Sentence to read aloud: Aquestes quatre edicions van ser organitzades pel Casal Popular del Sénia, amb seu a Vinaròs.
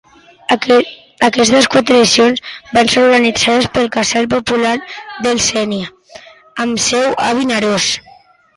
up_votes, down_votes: 0, 2